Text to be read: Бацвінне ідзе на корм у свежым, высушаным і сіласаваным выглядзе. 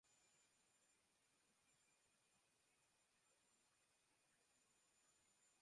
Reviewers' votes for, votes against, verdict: 0, 2, rejected